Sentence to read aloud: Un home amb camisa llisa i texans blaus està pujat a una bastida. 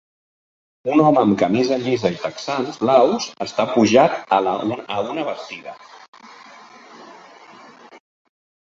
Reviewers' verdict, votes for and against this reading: rejected, 1, 2